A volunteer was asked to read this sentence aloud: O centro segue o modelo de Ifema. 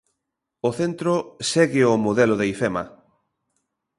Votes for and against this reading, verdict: 2, 0, accepted